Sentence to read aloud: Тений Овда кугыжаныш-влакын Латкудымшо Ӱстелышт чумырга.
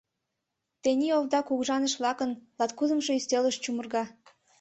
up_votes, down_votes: 2, 0